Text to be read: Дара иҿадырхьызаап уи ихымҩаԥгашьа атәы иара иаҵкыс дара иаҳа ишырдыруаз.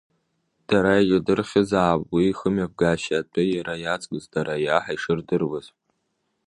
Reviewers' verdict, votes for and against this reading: rejected, 0, 2